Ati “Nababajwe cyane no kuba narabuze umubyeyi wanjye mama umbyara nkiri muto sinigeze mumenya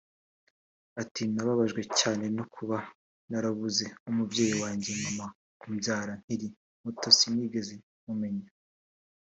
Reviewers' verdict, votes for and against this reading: rejected, 0, 2